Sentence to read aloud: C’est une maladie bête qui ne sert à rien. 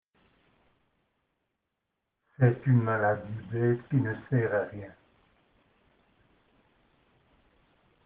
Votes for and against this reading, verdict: 2, 0, accepted